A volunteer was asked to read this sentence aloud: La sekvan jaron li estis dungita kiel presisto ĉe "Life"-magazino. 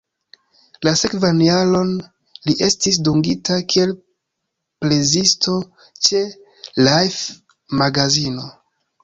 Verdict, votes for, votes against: rejected, 1, 2